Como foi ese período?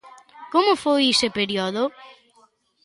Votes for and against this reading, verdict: 1, 2, rejected